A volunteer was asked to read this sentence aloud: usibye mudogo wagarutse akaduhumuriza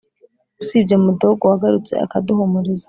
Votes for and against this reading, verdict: 2, 0, accepted